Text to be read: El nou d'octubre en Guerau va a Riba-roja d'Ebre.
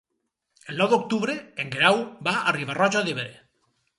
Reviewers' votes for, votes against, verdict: 4, 0, accepted